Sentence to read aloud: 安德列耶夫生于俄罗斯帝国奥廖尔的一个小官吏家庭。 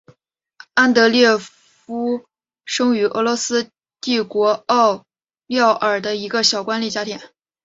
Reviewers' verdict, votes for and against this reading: accepted, 2, 1